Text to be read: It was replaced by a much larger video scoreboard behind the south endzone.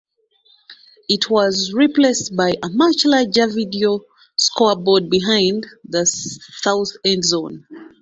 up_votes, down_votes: 2, 1